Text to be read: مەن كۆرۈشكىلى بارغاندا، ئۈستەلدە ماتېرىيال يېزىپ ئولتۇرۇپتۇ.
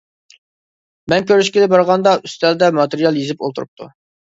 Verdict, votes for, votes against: accepted, 2, 0